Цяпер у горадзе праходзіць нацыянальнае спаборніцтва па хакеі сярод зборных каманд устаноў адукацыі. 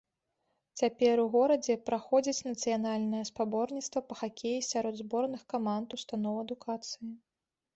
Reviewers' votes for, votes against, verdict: 2, 0, accepted